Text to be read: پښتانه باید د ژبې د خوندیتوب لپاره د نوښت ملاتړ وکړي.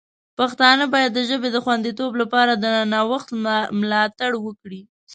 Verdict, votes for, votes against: rejected, 0, 2